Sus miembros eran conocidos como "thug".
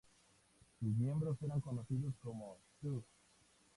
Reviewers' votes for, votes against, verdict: 0, 2, rejected